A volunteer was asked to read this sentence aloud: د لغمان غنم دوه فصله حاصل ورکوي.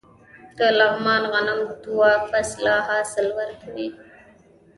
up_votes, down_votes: 2, 0